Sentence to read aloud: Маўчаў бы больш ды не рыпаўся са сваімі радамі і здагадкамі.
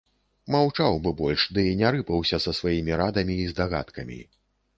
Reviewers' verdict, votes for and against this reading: accepted, 2, 0